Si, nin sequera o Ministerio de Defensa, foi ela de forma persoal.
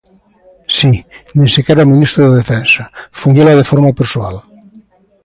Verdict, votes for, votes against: rejected, 0, 2